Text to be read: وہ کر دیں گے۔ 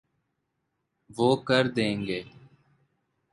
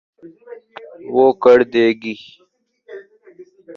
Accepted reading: first